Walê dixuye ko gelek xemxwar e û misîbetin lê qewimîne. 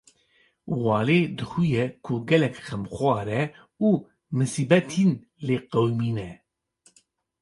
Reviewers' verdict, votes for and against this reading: accepted, 2, 0